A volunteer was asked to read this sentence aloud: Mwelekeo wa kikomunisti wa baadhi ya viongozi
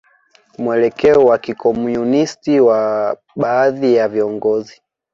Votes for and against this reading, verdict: 2, 0, accepted